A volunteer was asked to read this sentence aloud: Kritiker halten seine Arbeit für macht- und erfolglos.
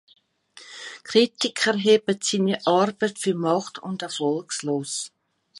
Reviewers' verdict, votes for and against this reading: accepted, 2, 0